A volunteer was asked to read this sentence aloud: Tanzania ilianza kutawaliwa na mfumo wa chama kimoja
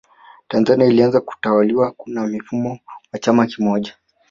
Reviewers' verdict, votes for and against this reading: accepted, 2, 1